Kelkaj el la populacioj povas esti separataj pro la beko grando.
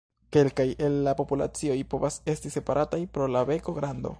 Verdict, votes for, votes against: accepted, 2, 0